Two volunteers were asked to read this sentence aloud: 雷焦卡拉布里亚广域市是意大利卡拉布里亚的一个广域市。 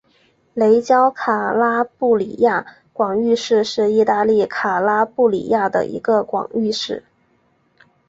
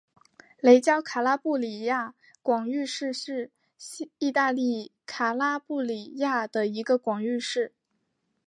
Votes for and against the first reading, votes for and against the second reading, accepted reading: 3, 1, 0, 2, first